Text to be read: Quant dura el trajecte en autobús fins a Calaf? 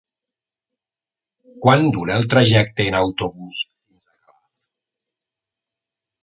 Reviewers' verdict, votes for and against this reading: rejected, 0, 3